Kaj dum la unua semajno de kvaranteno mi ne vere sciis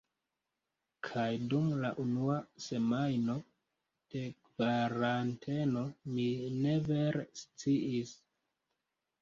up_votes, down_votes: 2, 3